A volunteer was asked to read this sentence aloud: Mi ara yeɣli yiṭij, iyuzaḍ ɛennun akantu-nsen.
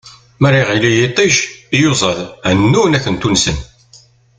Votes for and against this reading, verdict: 2, 1, accepted